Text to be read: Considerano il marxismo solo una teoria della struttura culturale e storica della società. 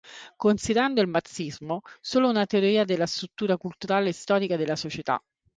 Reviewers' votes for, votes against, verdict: 0, 3, rejected